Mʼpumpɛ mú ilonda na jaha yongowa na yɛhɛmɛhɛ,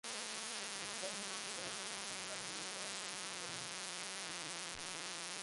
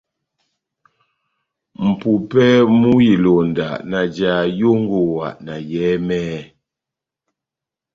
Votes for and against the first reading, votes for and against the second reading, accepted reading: 0, 2, 2, 0, second